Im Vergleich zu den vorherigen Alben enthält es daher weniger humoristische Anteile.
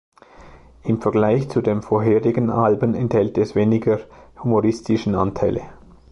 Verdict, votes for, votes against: rejected, 1, 2